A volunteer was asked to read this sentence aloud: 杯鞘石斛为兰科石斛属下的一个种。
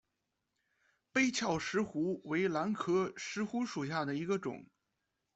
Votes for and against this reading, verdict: 2, 0, accepted